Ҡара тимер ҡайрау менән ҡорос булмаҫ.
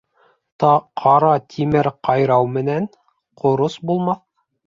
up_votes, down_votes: 1, 2